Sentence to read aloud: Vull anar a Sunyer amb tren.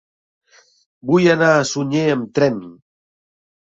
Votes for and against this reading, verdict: 3, 0, accepted